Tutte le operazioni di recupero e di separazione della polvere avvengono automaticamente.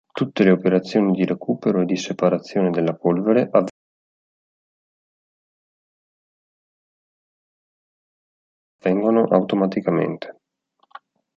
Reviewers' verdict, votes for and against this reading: rejected, 1, 2